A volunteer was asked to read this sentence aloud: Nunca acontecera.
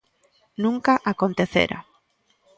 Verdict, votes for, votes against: accepted, 2, 0